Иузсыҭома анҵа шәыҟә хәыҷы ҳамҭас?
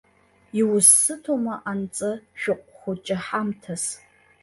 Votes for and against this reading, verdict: 1, 3, rejected